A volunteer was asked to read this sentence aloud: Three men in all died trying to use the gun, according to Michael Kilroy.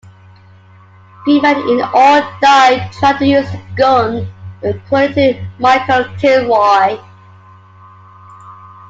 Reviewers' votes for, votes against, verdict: 0, 2, rejected